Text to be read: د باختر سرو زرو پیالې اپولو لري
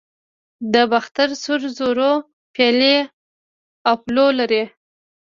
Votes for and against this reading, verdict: 1, 2, rejected